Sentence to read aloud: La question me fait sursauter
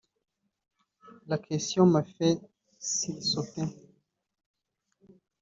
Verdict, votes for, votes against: rejected, 1, 2